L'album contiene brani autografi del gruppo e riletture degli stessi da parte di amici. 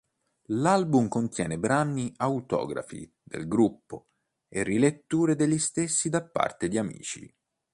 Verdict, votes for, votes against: accepted, 2, 1